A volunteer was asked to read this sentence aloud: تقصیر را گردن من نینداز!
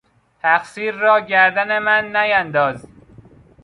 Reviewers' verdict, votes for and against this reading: accepted, 2, 0